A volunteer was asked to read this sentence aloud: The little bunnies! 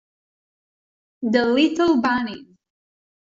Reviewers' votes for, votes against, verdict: 1, 2, rejected